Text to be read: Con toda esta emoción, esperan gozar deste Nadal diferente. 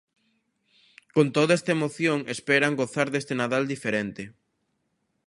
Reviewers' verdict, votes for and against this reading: accepted, 2, 0